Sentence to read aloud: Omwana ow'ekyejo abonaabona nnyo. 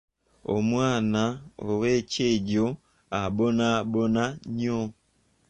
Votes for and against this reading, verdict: 0, 2, rejected